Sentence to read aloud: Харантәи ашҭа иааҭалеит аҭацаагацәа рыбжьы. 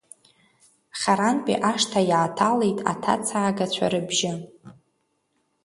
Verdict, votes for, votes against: accepted, 2, 1